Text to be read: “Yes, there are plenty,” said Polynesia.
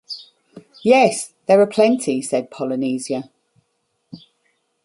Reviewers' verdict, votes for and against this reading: accepted, 2, 0